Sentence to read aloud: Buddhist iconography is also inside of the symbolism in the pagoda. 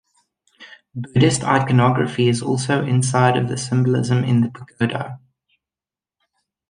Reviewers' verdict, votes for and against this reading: accepted, 2, 0